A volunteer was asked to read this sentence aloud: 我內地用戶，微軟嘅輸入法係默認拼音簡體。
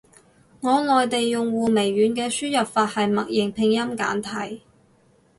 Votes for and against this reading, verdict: 2, 0, accepted